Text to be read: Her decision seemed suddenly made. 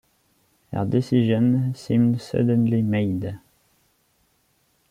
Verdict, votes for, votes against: accepted, 2, 0